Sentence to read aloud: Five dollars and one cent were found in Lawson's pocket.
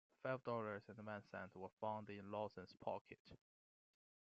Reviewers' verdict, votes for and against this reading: accepted, 2, 0